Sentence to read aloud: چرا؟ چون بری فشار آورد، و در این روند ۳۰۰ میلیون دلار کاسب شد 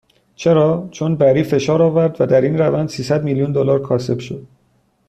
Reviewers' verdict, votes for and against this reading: rejected, 0, 2